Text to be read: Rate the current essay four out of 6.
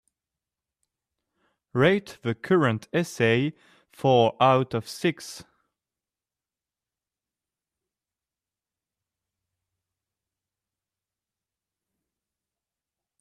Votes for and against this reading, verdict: 0, 2, rejected